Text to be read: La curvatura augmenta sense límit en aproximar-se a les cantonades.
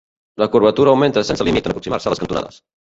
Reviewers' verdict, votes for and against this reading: rejected, 1, 2